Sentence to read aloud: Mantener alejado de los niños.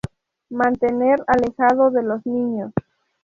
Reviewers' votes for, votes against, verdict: 2, 0, accepted